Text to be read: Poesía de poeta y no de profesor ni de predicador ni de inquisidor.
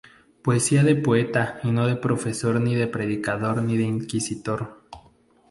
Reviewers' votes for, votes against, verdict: 0, 2, rejected